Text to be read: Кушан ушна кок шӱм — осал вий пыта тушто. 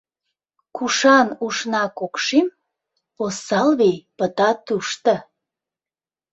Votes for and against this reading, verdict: 2, 0, accepted